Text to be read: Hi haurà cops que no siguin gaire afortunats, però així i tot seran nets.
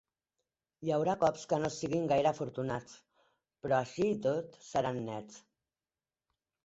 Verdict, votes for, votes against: accepted, 2, 1